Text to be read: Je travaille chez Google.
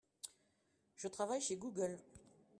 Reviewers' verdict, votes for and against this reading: accepted, 2, 0